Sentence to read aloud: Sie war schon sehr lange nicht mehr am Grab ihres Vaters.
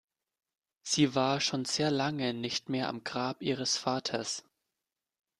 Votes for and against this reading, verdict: 2, 0, accepted